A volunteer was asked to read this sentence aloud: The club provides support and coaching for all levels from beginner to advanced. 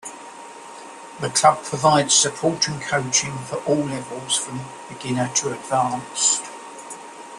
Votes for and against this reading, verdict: 2, 0, accepted